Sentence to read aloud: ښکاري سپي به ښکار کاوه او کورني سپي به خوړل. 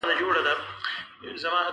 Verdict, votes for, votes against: rejected, 1, 2